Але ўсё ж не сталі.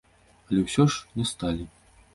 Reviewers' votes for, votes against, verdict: 2, 0, accepted